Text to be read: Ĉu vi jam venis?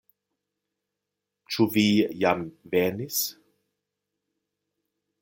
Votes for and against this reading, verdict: 2, 0, accepted